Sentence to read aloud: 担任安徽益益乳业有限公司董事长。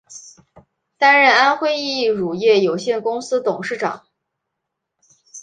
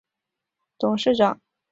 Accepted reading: first